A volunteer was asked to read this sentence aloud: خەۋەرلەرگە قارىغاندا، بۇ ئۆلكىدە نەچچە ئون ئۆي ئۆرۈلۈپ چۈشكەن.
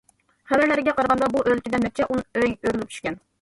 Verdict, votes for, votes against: rejected, 1, 2